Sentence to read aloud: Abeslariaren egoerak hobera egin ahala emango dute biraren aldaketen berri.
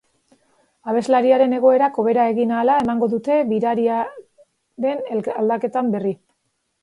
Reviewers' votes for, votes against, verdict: 1, 2, rejected